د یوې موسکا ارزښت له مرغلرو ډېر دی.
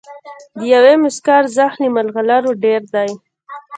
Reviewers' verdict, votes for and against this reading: accepted, 2, 1